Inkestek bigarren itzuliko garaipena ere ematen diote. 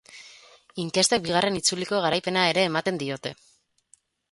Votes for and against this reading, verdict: 2, 2, rejected